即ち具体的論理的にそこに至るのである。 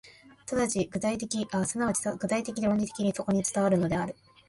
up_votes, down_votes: 0, 2